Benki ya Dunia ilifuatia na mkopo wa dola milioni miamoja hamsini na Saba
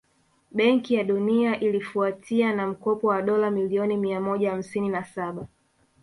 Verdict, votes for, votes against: accepted, 2, 1